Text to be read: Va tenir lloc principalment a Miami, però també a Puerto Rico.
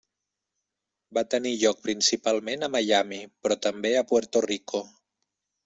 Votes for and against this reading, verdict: 3, 0, accepted